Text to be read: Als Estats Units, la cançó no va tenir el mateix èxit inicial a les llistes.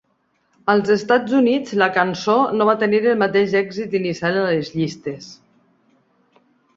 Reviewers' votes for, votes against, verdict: 0, 2, rejected